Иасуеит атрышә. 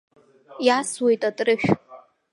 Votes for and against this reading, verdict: 3, 1, accepted